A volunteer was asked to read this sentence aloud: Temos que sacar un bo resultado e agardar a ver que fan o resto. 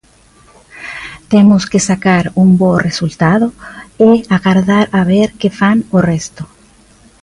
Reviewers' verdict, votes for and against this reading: accepted, 2, 0